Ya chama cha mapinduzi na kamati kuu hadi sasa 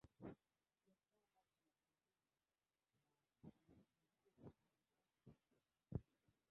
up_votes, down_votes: 0, 2